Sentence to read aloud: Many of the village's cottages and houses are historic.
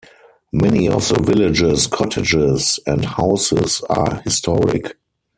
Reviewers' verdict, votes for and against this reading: accepted, 4, 0